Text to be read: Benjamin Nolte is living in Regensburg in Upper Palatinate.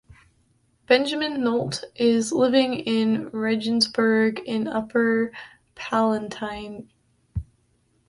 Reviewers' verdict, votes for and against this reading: rejected, 0, 2